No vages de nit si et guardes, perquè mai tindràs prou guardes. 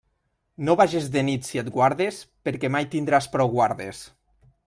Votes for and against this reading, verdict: 3, 0, accepted